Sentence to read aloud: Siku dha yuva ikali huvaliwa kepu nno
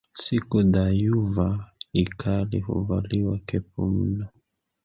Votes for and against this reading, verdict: 0, 2, rejected